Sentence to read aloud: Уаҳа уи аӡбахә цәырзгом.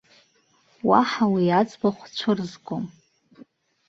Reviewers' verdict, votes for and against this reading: rejected, 1, 2